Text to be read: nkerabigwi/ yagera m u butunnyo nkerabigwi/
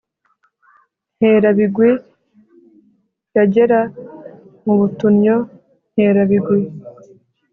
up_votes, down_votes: 3, 0